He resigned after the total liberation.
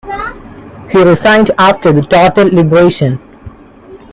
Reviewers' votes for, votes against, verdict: 0, 2, rejected